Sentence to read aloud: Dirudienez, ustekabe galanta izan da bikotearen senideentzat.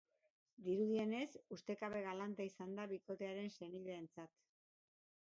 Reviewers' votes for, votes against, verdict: 0, 2, rejected